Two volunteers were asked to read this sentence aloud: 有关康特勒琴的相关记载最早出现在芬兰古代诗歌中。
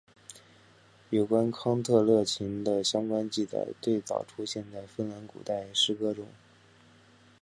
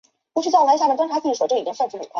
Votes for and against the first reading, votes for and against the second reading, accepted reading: 2, 0, 0, 3, first